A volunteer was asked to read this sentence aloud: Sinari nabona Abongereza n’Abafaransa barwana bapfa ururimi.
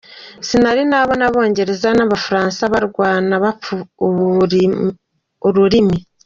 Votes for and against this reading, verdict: 0, 3, rejected